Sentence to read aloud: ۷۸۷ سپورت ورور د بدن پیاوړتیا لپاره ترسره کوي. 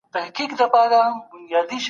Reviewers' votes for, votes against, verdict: 0, 2, rejected